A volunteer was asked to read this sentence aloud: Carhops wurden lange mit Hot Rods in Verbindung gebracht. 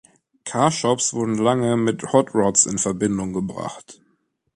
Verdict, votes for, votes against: rejected, 0, 2